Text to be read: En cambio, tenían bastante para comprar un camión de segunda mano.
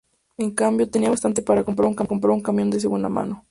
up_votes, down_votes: 0, 2